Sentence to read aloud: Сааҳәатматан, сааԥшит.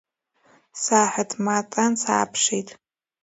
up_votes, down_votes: 2, 0